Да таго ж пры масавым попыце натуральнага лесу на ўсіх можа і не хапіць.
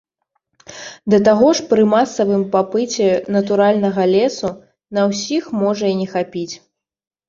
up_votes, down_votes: 0, 2